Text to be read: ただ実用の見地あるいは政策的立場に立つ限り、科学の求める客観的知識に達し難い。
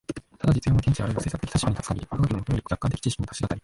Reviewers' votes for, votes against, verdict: 1, 2, rejected